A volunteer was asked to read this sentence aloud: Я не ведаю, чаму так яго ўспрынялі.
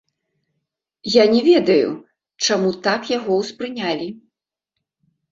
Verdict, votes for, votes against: accepted, 2, 0